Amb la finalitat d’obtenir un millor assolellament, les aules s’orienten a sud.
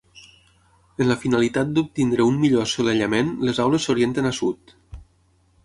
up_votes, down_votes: 0, 6